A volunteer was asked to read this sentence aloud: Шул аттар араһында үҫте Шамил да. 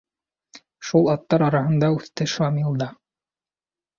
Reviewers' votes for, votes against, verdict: 2, 0, accepted